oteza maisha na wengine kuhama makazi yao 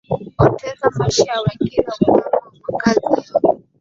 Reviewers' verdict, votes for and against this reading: rejected, 0, 2